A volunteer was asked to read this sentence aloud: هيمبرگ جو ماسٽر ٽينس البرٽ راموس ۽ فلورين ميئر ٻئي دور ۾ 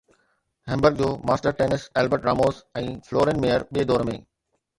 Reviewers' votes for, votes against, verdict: 2, 0, accepted